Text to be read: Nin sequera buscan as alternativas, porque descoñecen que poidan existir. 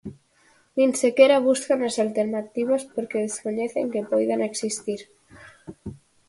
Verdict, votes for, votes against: accepted, 4, 0